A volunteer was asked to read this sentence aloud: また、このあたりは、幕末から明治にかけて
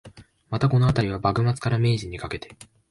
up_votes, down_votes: 3, 0